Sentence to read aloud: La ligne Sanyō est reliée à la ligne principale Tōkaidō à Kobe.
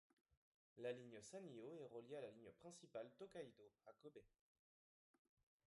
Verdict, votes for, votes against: rejected, 0, 2